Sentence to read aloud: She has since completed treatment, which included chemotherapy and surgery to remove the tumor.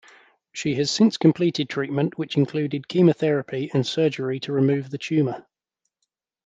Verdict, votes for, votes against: accepted, 2, 0